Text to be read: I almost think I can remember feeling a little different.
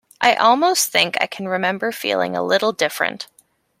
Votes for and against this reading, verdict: 2, 0, accepted